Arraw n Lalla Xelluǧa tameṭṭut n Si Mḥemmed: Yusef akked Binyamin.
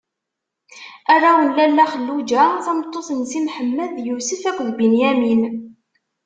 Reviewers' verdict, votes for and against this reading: accepted, 2, 0